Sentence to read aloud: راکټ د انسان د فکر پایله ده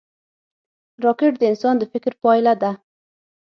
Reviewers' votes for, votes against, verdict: 3, 6, rejected